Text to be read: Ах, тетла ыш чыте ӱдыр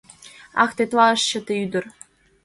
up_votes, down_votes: 2, 0